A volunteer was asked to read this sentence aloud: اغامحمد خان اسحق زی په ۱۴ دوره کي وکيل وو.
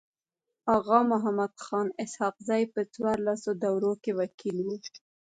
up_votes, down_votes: 0, 2